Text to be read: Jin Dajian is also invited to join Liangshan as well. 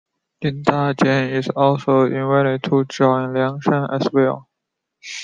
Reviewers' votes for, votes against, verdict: 2, 1, accepted